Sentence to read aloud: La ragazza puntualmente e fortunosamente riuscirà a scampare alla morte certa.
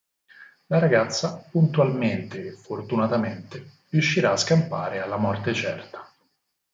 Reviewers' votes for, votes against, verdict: 0, 4, rejected